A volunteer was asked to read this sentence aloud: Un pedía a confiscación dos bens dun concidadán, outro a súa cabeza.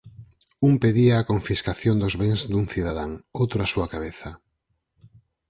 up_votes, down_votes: 0, 4